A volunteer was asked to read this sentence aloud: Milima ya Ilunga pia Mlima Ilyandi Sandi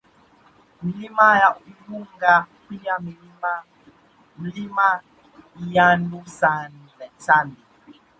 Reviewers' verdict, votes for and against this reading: accepted, 2, 1